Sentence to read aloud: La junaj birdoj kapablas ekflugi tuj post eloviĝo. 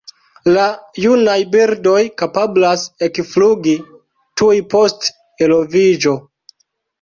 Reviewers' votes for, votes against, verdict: 2, 0, accepted